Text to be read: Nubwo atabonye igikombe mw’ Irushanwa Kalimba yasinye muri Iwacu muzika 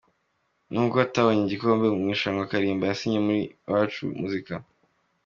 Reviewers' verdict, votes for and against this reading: accepted, 2, 0